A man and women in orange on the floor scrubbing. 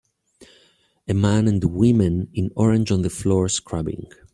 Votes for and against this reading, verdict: 2, 0, accepted